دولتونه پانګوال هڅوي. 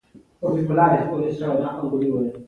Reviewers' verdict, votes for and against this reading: accepted, 2, 1